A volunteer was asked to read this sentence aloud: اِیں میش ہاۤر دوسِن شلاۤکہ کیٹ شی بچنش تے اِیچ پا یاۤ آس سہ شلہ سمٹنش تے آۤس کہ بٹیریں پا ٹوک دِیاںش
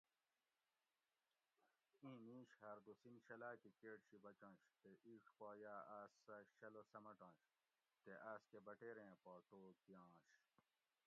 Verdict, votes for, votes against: rejected, 1, 2